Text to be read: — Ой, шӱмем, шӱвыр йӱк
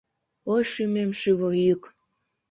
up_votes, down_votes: 2, 1